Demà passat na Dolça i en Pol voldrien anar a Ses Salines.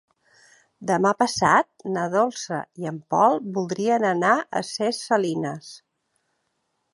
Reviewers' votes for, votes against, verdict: 1, 2, rejected